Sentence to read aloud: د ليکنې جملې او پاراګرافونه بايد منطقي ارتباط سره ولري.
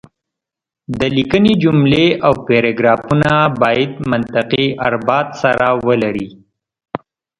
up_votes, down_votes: 0, 2